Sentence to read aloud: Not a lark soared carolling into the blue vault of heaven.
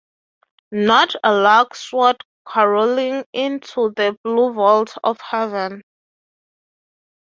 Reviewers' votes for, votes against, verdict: 6, 0, accepted